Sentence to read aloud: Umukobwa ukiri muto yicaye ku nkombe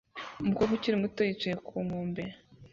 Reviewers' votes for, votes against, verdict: 2, 0, accepted